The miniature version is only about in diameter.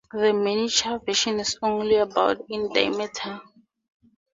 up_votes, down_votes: 4, 0